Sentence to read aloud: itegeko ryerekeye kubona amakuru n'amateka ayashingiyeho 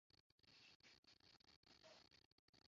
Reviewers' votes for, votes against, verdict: 0, 2, rejected